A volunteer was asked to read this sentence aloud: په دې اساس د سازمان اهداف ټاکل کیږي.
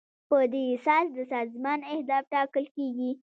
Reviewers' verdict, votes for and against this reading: accepted, 2, 0